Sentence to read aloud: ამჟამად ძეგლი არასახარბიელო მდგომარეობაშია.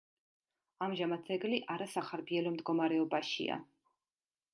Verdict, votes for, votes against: accepted, 2, 0